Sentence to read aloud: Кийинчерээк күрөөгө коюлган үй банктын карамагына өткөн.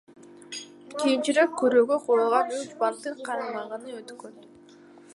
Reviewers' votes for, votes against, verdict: 1, 2, rejected